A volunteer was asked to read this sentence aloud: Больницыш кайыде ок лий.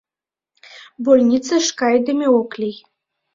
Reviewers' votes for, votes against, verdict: 1, 2, rejected